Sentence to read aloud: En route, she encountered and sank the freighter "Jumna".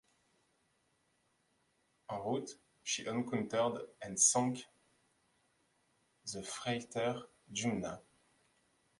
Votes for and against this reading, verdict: 2, 1, accepted